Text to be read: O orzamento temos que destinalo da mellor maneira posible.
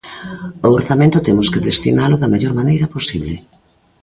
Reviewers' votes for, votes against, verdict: 2, 0, accepted